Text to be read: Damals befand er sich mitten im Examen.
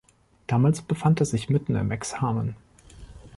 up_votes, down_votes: 2, 0